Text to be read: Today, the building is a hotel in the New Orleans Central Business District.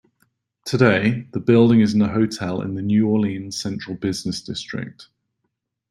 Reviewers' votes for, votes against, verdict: 2, 0, accepted